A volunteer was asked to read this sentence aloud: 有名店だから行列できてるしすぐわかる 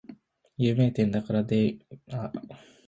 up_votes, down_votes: 2, 5